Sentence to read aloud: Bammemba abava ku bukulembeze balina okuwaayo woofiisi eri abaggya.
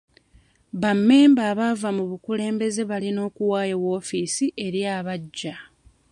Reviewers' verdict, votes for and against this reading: rejected, 0, 2